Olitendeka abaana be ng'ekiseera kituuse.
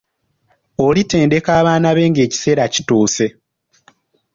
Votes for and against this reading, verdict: 2, 0, accepted